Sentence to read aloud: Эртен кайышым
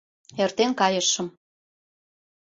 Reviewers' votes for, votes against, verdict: 2, 0, accepted